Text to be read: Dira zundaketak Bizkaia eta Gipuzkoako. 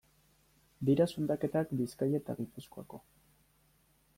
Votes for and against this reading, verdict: 2, 0, accepted